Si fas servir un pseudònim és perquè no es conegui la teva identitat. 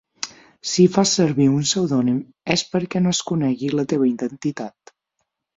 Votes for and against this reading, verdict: 6, 0, accepted